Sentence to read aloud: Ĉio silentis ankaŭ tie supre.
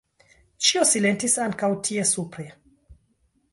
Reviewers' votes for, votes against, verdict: 2, 0, accepted